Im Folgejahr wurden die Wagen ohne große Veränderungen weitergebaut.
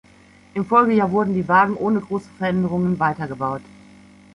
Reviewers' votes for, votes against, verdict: 2, 1, accepted